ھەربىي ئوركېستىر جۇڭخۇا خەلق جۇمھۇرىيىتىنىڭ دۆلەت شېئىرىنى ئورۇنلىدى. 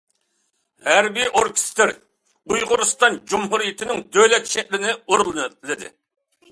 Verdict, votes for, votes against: rejected, 0, 2